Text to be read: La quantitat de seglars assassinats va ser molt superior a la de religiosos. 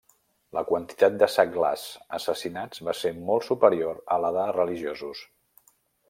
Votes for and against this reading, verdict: 0, 2, rejected